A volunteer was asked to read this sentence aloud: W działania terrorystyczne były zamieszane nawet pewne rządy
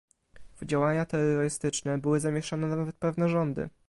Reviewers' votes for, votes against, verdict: 1, 2, rejected